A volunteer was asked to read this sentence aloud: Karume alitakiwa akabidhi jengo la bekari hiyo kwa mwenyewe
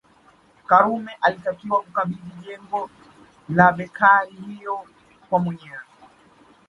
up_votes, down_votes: 2, 1